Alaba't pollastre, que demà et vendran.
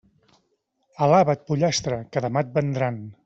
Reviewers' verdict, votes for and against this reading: accepted, 2, 0